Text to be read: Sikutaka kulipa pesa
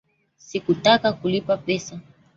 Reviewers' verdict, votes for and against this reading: accepted, 2, 0